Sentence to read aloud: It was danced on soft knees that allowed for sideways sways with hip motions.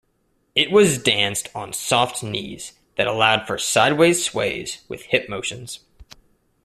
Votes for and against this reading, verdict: 1, 2, rejected